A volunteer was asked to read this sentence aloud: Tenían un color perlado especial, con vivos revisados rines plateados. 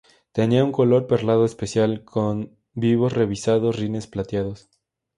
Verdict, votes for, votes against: accepted, 2, 0